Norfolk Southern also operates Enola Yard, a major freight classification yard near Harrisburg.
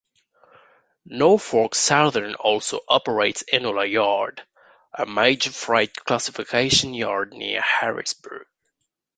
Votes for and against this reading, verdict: 1, 2, rejected